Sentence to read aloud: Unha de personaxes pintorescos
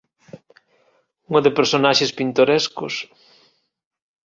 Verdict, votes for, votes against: accepted, 2, 0